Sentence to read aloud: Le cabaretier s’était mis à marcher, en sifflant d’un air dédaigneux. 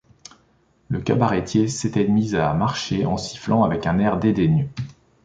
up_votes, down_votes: 1, 2